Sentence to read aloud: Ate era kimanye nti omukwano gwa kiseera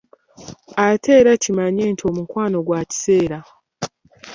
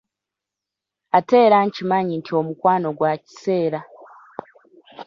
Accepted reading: first